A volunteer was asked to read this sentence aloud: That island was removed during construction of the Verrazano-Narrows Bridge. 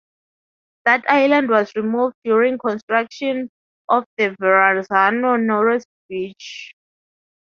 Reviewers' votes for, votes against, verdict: 0, 2, rejected